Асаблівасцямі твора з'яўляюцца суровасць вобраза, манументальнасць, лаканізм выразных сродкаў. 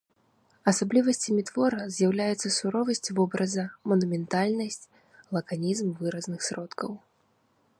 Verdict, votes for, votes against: rejected, 1, 2